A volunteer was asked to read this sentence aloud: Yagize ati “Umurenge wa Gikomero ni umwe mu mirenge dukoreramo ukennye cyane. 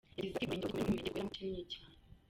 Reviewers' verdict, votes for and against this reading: rejected, 0, 2